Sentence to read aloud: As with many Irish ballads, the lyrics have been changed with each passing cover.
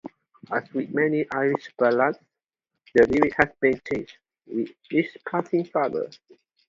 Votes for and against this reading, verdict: 2, 0, accepted